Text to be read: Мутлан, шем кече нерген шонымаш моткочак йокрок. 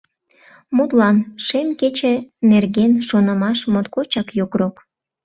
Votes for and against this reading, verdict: 2, 0, accepted